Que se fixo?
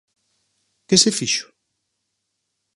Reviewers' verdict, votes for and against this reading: accepted, 4, 0